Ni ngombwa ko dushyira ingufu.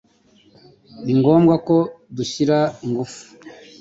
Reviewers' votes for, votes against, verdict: 2, 0, accepted